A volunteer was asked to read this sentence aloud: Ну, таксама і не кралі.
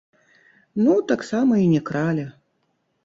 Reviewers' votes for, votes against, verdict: 1, 2, rejected